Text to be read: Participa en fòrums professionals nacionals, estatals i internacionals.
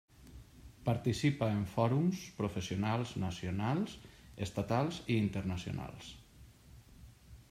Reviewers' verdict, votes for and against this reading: accepted, 3, 0